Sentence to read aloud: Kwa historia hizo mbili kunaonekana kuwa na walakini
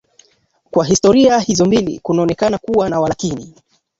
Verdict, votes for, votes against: accepted, 2, 1